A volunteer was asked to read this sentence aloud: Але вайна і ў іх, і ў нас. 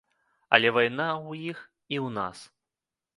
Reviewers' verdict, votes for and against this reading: rejected, 0, 2